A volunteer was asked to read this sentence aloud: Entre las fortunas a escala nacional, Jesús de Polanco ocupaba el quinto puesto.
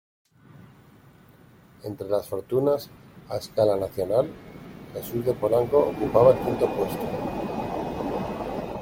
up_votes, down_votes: 0, 2